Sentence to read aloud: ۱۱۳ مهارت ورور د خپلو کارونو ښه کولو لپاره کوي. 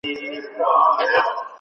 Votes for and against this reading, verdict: 0, 2, rejected